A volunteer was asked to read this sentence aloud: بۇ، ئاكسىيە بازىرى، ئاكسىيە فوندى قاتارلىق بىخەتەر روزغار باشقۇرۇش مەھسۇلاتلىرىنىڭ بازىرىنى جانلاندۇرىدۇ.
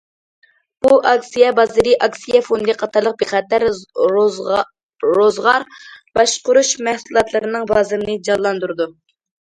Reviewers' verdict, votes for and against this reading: rejected, 0, 2